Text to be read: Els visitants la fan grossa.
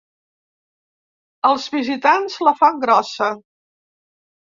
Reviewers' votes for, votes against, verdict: 2, 0, accepted